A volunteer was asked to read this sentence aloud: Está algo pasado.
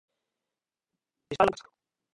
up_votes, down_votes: 0, 2